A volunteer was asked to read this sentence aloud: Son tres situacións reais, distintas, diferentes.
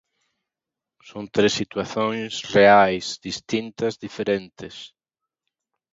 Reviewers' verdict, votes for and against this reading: accepted, 3, 1